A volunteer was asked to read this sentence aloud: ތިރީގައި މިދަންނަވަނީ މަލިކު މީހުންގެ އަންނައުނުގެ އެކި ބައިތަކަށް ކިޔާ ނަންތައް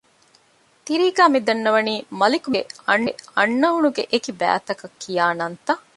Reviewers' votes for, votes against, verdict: 0, 2, rejected